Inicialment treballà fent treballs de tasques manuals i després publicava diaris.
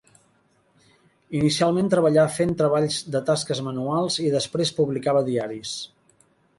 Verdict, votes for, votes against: accepted, 2, 0